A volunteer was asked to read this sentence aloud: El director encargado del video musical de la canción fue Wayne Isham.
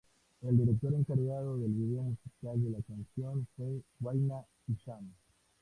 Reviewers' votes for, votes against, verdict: 2, 0, accepted